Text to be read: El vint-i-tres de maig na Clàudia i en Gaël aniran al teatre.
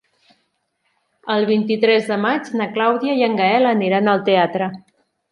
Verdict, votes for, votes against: accepted, 3, 0